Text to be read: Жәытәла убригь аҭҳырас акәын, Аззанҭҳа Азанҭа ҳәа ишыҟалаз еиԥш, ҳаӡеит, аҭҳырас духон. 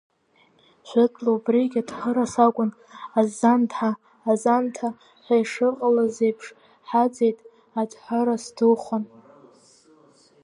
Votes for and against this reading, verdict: 1, 2, rejected